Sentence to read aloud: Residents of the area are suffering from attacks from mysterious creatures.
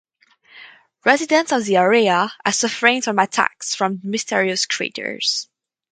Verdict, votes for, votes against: accepted, 4, 0